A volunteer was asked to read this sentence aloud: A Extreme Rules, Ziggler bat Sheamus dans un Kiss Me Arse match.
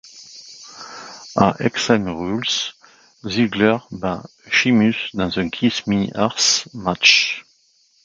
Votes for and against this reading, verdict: 1, 2, rejected